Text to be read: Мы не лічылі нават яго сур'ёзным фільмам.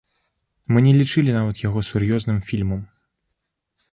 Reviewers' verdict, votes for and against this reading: accepted, 2, 0